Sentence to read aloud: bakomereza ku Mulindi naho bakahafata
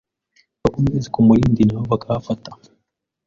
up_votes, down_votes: 0, 2